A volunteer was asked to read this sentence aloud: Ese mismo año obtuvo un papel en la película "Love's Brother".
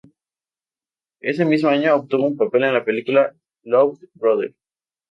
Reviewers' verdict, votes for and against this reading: accepted, 2, 0